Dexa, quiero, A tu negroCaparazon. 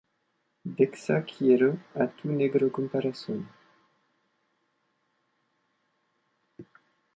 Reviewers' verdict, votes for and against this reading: rejected, 1, 2